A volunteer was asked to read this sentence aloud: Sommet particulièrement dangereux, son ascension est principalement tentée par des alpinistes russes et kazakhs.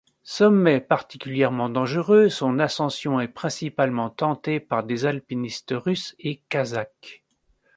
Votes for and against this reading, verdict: 2, 0, accepted